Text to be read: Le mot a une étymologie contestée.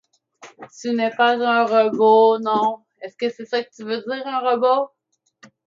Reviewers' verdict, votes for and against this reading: rejected, 0, 2